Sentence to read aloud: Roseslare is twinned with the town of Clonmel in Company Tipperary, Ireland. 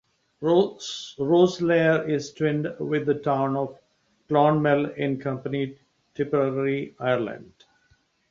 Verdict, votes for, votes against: rejected, 1, 2